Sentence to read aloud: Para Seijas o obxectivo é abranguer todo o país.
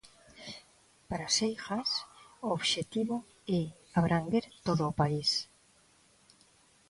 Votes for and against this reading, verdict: 2, 0, accepted